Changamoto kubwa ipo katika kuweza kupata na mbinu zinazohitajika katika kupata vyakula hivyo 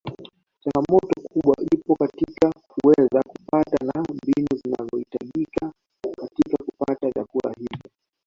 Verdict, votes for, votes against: rejected, 0, 2